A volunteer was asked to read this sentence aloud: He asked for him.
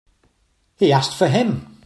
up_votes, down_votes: 3, 0